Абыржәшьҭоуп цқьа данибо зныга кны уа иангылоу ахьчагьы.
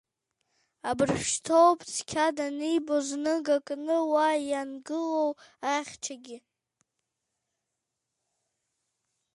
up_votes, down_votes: 1, 2